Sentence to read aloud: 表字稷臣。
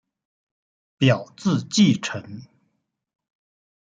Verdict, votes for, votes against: accepted, 2, 0